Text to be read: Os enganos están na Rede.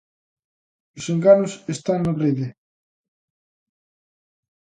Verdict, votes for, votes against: accepted, 2, 0